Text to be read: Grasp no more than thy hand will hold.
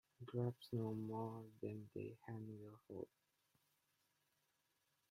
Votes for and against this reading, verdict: 0, 2, rejected